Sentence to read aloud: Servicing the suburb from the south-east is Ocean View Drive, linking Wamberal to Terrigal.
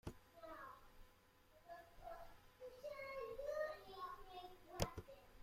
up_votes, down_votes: 0, 2